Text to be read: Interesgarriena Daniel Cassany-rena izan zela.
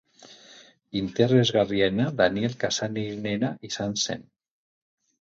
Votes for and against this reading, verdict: 0, 4, rejected